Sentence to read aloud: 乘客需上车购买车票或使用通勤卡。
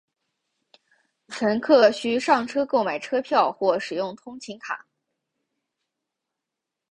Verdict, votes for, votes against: accepted, 3, 0